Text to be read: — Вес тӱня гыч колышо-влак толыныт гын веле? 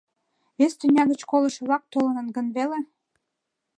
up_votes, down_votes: 2, 0